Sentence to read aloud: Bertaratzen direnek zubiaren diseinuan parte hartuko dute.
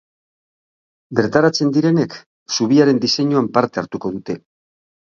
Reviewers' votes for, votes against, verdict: 12, 0, accepted